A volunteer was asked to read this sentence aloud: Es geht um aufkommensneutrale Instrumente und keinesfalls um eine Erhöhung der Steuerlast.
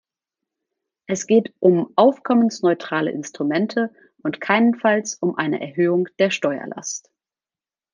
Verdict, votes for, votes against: rejected, 0, 2